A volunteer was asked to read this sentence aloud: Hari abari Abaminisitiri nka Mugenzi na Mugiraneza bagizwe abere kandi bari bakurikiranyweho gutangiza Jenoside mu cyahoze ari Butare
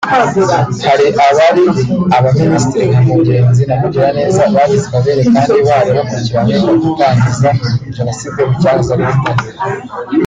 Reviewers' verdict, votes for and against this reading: rejected, 1, 2